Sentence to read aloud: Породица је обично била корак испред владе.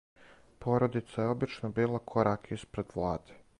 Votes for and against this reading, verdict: 2, 2, rejected